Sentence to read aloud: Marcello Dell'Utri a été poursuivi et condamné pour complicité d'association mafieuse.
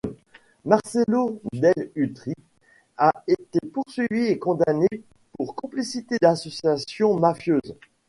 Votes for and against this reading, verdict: 1, 2, rejected